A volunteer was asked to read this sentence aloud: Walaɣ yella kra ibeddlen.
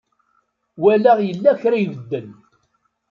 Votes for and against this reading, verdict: 1, 2, rejected